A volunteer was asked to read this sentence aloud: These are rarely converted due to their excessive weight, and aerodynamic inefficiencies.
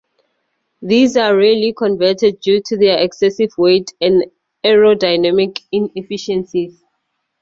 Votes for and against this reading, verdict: 2, 2, rejected